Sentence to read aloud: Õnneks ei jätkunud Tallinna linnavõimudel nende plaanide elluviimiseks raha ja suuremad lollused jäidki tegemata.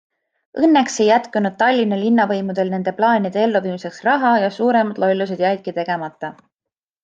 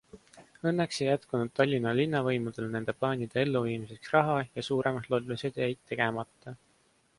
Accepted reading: first